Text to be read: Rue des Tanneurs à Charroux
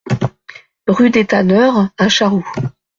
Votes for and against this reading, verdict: 2, 0, accepted